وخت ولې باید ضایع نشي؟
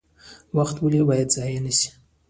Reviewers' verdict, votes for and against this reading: rejected, 1, 2